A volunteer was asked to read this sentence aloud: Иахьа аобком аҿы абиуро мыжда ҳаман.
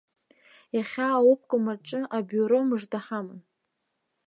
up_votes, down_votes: 0, 2